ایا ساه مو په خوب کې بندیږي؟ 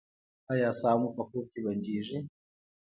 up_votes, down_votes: 2, 0